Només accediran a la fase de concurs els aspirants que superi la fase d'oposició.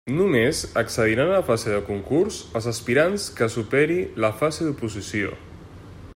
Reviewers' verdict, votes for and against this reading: accepted, 2, 0